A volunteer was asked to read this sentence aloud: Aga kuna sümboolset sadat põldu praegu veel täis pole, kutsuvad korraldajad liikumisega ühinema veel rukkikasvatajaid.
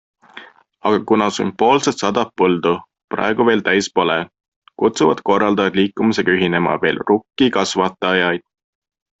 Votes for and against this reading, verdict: 2, 0, accepted